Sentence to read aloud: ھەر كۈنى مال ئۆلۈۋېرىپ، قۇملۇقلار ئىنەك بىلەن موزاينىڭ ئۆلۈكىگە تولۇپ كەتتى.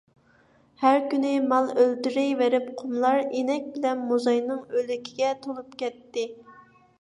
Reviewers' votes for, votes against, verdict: 1, 2, rejected